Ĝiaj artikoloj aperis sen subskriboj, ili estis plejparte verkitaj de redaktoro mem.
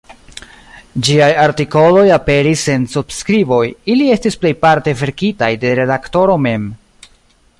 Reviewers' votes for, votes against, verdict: 2, 0, accepted